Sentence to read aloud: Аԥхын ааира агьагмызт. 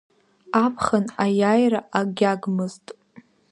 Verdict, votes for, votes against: rejected, 0, 2